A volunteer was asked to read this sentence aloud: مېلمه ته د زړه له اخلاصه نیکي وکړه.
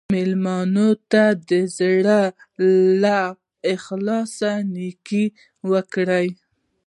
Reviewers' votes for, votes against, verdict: 1, 2, rejected